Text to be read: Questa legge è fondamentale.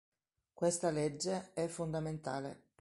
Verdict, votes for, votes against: accepted, 2, 1